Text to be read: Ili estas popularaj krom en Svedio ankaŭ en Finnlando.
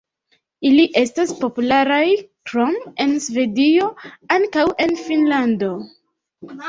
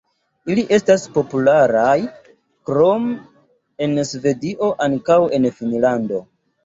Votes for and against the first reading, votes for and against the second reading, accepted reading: 2, 1, 1, 2, first